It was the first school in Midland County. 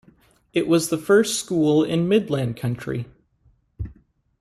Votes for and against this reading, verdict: 1, 2, rejected